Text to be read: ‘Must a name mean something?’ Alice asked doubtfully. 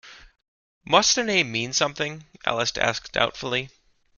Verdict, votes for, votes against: accepted, 2, 0